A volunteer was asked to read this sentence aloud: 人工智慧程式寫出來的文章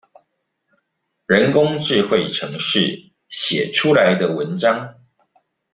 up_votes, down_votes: 2, 0